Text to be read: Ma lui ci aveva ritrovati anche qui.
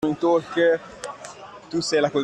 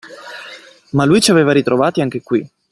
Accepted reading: second